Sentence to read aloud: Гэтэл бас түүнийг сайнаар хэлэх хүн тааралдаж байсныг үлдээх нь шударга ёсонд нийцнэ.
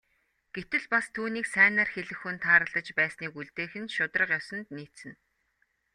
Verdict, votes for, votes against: accepted, 2, 0